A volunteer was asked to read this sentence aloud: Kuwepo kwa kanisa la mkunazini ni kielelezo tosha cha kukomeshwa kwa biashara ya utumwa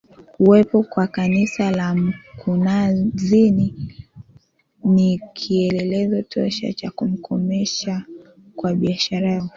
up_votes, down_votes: 0, 2